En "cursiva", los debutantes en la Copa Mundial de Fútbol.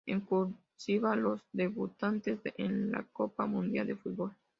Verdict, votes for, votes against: accepted, 2, 1